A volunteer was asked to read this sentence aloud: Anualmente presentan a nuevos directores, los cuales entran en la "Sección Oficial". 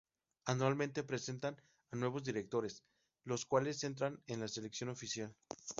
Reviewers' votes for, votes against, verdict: 2, 2, rejected